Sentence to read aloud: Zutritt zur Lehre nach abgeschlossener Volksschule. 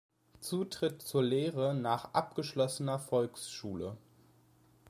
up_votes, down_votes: 2, 0